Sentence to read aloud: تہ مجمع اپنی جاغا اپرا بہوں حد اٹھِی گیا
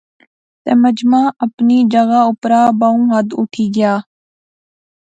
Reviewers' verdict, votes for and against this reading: accepted, 3, 0